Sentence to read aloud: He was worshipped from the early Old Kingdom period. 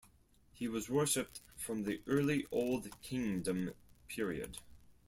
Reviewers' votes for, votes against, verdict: 4, 0, accepted